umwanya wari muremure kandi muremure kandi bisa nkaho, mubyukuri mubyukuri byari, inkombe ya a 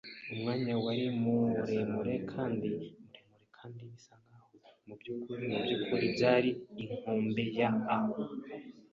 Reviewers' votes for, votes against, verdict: 0, 2, rejected